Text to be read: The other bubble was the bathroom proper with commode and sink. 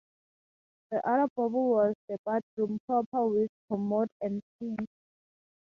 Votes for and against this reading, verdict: 0, 2, rejected